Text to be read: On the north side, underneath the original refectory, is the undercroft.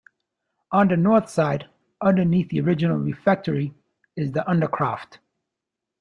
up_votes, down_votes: 2, 0